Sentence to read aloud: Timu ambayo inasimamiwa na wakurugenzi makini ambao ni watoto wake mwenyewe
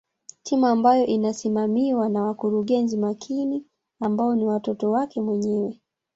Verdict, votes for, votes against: rejected, 1, 2